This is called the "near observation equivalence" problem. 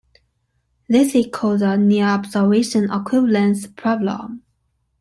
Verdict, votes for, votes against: accepted, 2, 1